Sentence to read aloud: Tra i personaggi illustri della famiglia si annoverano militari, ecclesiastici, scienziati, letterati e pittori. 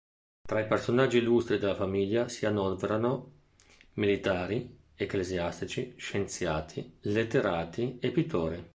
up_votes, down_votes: 1, 2